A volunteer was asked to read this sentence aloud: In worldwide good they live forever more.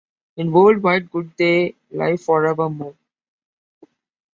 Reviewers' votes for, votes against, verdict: 1, 2, rejected